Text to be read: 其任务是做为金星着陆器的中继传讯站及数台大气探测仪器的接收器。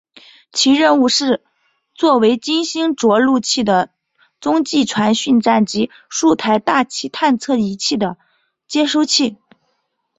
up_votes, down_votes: 2, 0